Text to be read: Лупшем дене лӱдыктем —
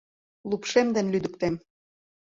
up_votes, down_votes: 2, 0